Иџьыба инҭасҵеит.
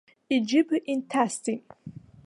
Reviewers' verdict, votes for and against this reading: accepted, 2, 1